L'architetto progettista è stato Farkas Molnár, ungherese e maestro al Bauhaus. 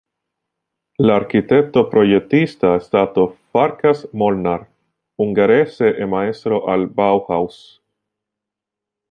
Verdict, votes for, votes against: rejected, 0, 2